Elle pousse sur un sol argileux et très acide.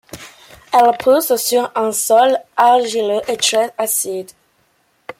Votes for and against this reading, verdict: 2, 0, accepted